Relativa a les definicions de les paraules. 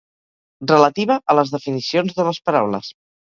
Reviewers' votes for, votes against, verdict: 2, 2, rejected